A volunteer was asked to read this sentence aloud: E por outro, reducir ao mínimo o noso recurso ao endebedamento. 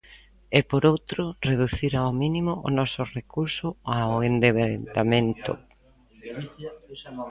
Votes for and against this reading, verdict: 0, 2, rejected